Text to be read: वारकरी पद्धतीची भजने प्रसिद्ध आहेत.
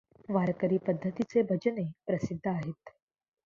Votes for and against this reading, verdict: 0, 2, rejected